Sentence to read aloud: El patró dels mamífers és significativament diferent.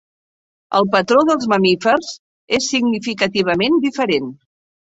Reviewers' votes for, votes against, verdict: 3, 0, accepted